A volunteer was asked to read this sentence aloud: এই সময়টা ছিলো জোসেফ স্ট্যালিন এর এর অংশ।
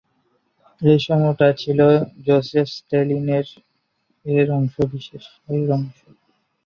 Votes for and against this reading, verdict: 0, 2, rejected